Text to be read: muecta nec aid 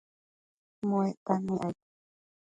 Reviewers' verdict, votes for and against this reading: rejected, 1, 2